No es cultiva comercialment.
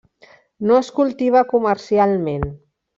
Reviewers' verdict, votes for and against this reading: accepted, 3, 0